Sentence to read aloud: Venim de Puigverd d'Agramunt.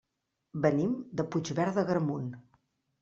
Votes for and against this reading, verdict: 2, 0, accepted